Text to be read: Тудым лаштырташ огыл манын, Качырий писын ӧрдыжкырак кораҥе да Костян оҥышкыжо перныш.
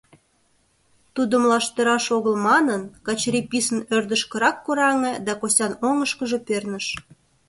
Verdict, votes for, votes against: rejected, 1, 2